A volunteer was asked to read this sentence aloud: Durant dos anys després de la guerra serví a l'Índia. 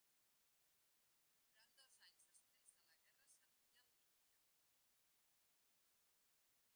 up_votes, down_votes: 0, 2